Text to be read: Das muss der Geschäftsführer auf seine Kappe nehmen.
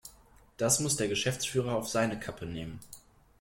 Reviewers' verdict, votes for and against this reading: accepted, 2, 0